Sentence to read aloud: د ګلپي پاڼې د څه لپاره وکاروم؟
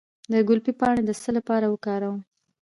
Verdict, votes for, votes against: accepted, 2, 0